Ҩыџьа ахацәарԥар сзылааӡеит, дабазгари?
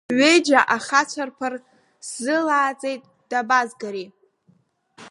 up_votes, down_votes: 2, 0